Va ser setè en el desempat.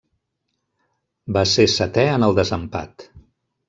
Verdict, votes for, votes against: accepted, 2, 0